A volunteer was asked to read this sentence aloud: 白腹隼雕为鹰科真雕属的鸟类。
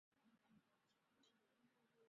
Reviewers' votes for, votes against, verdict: 0, 2, rejected